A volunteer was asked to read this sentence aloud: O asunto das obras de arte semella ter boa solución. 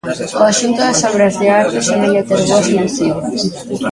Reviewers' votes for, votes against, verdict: 0, 2, rejected